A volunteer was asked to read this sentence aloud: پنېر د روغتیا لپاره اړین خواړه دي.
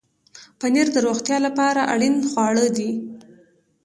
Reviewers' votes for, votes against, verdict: 2, 0, accepted